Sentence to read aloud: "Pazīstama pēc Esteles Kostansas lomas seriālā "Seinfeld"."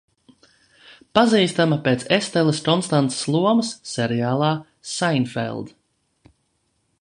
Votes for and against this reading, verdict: 1, 2, rejected